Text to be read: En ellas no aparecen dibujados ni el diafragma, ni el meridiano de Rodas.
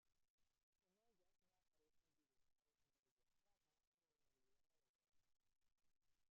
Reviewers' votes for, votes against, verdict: 0, 2, rejected